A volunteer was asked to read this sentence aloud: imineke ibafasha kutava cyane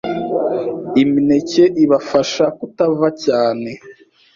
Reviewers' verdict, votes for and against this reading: accepted, 2, 0